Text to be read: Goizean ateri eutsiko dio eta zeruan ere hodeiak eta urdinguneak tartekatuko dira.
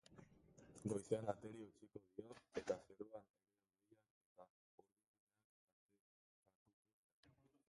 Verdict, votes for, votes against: rejected, 0, 2